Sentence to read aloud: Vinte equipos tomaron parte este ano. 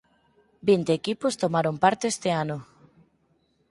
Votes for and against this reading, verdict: 4, 0, accepted